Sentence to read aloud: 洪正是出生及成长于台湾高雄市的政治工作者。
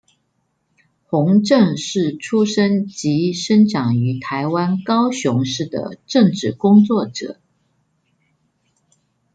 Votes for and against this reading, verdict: 1, 2, rejected